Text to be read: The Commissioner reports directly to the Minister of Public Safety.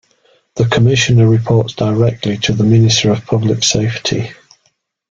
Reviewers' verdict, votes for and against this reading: accepted, 2, 0